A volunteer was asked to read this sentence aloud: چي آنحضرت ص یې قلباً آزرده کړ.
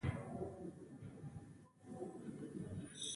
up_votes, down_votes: 0, 2